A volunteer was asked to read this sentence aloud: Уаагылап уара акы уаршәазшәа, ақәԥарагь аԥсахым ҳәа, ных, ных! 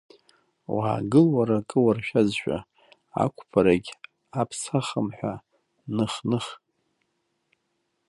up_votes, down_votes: 0, 2